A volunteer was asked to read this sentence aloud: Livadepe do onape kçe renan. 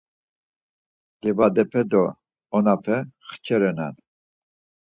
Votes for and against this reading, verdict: 2, 4, rejected